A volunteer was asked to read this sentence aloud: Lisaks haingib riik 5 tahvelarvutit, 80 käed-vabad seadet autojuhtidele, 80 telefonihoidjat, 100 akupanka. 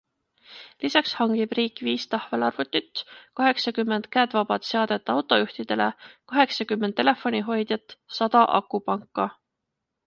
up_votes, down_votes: 0, 2